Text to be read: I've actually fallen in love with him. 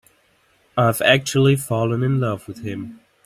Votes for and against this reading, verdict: 2, 0, accepted